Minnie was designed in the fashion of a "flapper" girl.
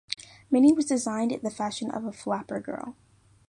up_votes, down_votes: 2, 0